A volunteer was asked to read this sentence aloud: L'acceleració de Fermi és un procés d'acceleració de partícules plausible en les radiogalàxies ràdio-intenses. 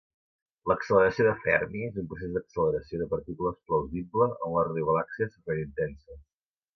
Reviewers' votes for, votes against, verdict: 2, 3, rejected